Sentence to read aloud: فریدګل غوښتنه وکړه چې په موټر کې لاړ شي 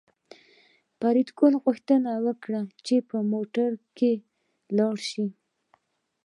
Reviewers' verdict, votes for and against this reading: rejected, 1, 2